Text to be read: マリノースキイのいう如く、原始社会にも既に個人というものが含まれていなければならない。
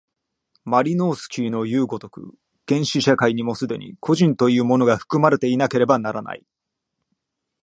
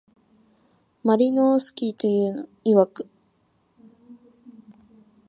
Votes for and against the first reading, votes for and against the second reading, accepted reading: 2, 1, 0, 2, first